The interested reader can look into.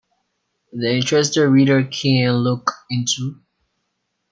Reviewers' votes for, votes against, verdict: 2, 1, accepted